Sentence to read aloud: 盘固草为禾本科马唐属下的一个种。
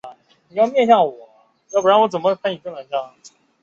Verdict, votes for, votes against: rejected, 0, 2